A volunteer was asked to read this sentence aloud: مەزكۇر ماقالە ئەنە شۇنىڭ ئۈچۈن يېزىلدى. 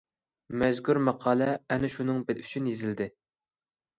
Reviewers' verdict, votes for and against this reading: rejected, 0, 2